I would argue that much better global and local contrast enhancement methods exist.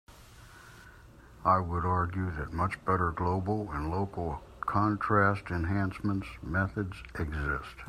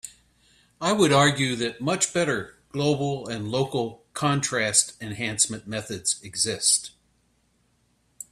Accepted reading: second